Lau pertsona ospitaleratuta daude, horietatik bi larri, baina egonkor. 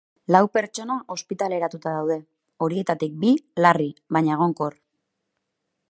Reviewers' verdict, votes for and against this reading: accepted, 4, 0